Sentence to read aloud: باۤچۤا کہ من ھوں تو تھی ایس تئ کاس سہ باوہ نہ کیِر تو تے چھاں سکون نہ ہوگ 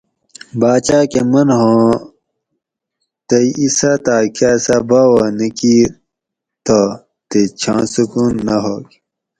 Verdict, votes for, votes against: rejected, 2, 4